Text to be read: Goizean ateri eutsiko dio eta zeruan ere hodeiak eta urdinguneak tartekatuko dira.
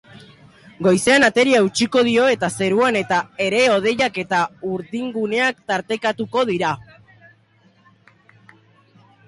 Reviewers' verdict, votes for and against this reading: accepted, 2, 1